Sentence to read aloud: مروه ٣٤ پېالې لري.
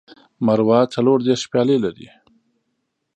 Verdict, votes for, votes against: rejected, 0, 2